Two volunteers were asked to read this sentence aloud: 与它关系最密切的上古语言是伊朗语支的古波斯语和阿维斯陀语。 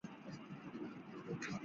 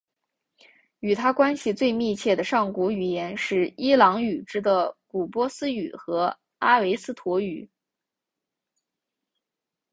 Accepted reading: second